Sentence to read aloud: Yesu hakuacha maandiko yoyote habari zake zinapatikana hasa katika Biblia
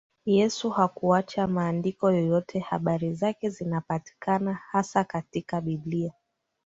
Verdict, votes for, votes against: accepted, 2, 0